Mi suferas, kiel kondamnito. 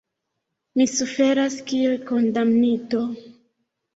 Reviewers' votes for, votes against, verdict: 2, 1, accepted